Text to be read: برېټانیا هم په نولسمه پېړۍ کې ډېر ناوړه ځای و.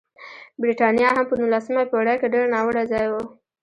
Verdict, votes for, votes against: rejected, 1, 2